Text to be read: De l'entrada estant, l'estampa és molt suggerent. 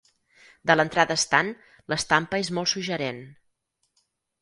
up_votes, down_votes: 4, 0